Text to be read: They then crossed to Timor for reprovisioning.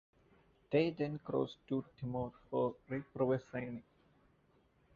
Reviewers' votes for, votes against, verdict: 0, 2, rejected